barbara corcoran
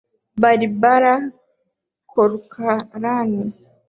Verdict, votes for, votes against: rejected, 0, 2